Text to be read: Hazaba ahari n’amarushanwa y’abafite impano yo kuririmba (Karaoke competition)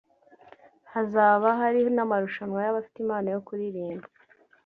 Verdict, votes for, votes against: rejected, 0, 2